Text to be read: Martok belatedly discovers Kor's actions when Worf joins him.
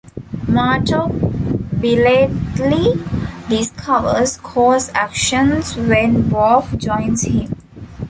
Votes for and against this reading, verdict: 0, 2, rejected